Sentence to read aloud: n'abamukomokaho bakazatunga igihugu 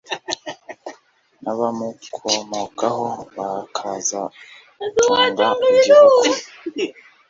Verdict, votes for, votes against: rejected, 1, 2